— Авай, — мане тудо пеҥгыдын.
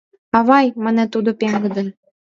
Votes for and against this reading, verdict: 2, 0, accepted